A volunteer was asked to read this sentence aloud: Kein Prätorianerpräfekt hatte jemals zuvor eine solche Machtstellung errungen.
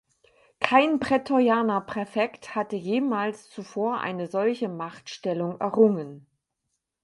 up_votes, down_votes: 4, 0